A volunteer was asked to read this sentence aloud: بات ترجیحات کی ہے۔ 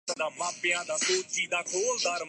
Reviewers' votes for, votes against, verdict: 0, 2, rejected